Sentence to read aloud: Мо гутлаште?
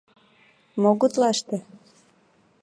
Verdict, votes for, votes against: accepted, 2, 0